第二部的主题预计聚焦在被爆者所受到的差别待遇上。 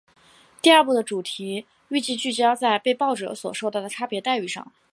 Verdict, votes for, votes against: accepted, 2, 0